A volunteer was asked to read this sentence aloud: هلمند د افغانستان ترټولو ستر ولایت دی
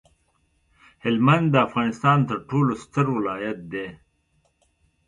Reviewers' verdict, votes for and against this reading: accepted, 2, 0